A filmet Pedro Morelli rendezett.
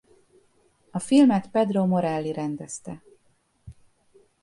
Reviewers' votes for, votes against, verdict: 0, 2, rejected